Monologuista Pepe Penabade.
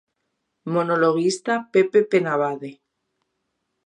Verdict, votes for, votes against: accepted, 2, 0